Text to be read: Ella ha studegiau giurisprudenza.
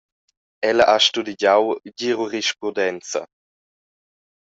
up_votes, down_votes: 0, 2